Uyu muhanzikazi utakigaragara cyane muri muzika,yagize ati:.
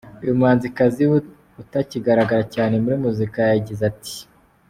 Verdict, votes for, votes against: accepted, 2, 0